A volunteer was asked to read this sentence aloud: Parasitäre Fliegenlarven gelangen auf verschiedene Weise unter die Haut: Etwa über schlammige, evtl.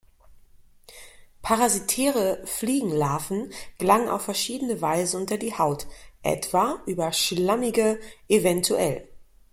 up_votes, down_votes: 2, 0